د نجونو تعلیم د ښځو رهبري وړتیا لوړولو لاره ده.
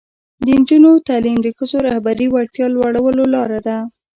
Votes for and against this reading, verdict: 1, 2, rejected